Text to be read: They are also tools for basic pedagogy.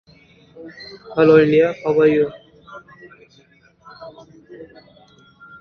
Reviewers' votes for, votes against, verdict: 0, 2, rejected